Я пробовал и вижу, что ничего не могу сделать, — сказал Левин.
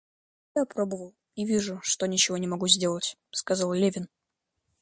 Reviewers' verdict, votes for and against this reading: rejected, 1, 2